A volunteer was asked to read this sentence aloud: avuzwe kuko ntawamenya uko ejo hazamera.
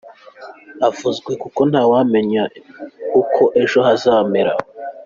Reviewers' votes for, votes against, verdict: 2, 1, accepted